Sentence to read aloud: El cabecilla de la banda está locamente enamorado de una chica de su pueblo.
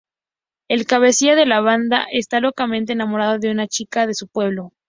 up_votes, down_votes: 2, 0